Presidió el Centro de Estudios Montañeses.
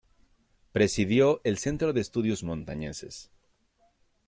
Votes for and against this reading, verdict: 2, 0, accepted